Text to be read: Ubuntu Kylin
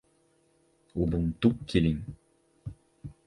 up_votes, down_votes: 4, 0